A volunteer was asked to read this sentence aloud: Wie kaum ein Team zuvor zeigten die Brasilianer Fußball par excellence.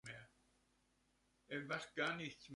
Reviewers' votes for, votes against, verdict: 0, 2, rejected